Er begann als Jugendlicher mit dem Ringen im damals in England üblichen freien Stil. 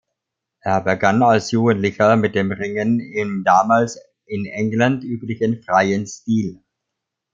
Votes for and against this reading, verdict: 2, 0, accepted